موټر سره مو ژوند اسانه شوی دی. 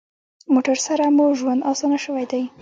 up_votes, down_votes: 0, 2